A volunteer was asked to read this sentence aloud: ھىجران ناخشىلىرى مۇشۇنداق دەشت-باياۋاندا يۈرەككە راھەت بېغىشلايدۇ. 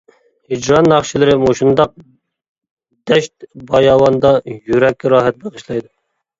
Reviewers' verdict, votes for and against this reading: accepted, 2, 0